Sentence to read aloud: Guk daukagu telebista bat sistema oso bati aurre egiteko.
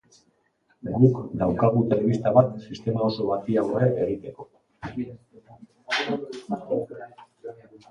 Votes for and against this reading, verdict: 0, 2, rejected